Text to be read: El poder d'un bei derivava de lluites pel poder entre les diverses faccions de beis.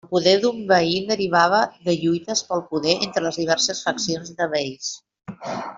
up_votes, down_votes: 2, 0